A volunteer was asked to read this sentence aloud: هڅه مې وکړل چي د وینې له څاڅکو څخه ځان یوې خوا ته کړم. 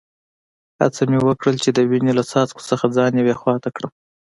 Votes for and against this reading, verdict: 2, 0, accepted